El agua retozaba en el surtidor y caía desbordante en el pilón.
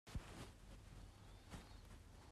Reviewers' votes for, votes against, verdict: 0, 2, rejected